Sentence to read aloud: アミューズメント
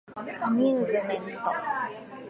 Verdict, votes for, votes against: accepted, 8, 1